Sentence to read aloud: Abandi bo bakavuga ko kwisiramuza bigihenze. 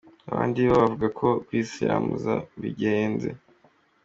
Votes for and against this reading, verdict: 0, 2, rejected